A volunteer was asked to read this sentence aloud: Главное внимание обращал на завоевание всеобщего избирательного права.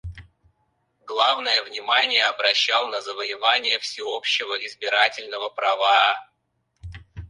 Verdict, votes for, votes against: rejected, 2, 4